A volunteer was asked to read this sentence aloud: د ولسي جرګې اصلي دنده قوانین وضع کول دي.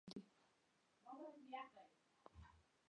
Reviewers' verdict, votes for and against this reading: rejected, 1, 2